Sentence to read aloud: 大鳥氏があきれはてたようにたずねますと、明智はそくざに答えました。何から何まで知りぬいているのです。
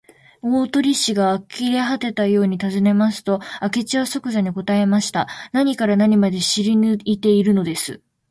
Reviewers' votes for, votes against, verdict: 2, 1, accepted